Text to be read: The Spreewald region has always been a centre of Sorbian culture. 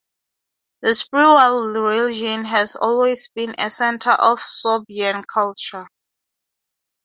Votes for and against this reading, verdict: 6, 3, accepted